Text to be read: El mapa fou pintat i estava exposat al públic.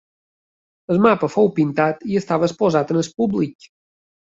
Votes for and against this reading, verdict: 0, 2, rejected